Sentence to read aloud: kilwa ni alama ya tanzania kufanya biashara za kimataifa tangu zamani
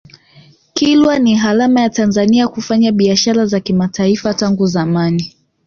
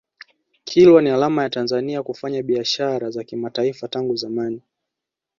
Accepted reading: first